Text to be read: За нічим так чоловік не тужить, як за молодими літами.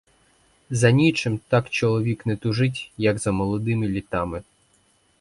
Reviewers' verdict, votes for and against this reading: rejected, 0, 4